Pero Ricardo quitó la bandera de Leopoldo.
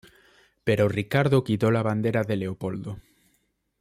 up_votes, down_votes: 2, 0